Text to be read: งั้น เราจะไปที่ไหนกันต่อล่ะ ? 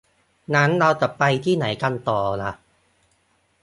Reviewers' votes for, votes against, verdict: 2, 0, accepted